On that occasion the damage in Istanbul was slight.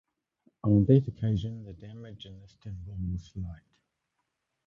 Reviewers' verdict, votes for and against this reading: rejected, 0, 2